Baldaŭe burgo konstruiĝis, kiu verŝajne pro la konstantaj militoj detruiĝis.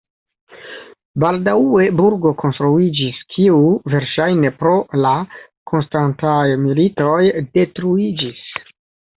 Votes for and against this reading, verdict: 2, 0, accepted